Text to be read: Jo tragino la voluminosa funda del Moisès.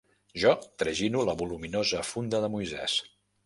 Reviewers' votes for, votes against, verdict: 0, 2, rejected